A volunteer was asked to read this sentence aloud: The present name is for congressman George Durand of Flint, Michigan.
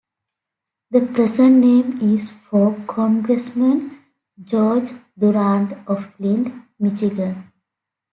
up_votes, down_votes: 2, 0